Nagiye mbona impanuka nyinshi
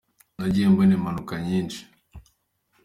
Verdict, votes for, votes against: accepted, 3, 0